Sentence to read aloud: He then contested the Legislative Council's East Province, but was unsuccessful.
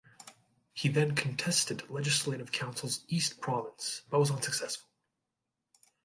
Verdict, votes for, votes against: rejected, 0, 2